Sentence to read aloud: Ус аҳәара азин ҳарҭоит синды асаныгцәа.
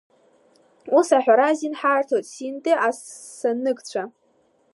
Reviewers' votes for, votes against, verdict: 0, 2, rejected